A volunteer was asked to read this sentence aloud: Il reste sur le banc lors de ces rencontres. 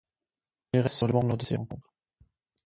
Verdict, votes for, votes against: rejected, 0, 4